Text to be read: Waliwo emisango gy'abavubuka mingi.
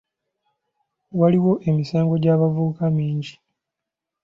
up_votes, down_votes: 2, 0